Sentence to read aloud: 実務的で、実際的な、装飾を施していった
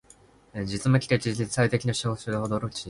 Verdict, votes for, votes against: rejected, 1, 2